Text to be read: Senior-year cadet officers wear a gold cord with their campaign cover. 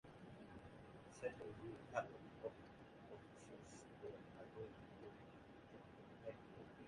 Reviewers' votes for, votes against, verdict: 0, 2, rejected